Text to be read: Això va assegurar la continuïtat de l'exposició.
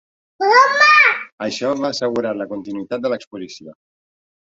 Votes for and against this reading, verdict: 1, 2, rejected